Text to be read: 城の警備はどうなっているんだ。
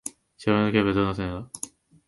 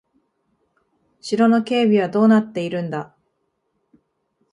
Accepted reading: second